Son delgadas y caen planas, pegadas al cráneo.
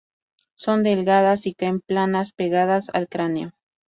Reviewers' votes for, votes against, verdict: 2, 0, accepted